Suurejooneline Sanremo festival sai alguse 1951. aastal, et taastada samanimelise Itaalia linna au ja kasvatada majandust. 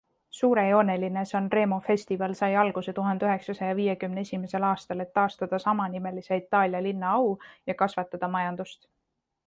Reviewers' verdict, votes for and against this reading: rejected, 0, 2